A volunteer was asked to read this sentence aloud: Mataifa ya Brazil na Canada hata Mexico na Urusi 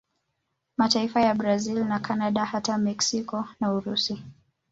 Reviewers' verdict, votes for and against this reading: rejected, 1, 2